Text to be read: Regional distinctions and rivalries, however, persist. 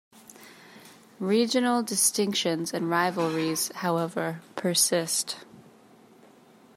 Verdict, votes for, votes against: accepted, 2, 0